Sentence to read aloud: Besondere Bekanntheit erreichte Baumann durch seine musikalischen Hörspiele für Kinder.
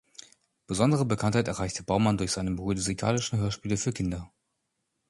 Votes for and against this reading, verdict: 2, 1, accepted